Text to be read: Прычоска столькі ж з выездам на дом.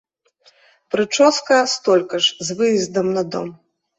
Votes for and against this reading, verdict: 0, 2, rejected